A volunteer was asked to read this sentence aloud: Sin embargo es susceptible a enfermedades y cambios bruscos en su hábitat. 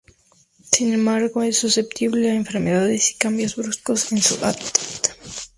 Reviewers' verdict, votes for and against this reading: accepted, 2, 0